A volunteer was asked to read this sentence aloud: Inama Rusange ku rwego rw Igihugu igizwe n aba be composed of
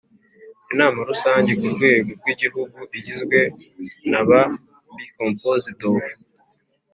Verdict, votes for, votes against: accepted, 2, 0